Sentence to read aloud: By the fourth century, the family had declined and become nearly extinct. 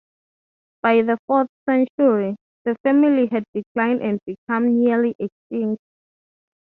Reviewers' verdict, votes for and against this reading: accepted, 3, 0